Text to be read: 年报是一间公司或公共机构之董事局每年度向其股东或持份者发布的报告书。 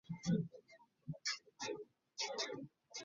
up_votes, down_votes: 0, 4